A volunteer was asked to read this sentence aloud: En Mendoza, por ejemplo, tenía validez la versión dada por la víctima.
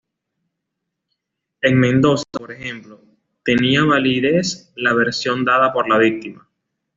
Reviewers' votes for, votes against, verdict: 1, 2, rejected